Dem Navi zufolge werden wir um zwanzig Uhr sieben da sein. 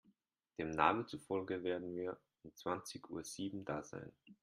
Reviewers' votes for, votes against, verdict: 2, 0, accepted